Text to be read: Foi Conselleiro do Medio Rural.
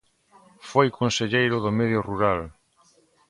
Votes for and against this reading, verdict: 2, 0, accepted